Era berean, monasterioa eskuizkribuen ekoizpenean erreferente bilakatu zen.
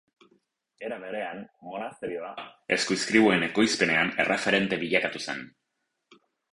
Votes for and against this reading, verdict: 4, 0, accepted